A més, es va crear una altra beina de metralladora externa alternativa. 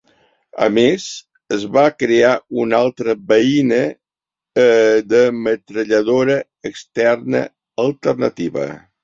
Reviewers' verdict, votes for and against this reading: accepted, 2, 0